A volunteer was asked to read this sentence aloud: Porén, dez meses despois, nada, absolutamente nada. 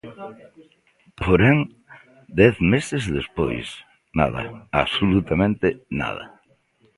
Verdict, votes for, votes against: accepted, 2, 0